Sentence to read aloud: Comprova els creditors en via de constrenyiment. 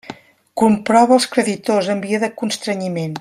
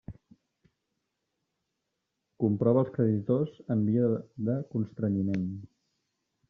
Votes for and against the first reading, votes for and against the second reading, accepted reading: 2, 0, 0, 2, first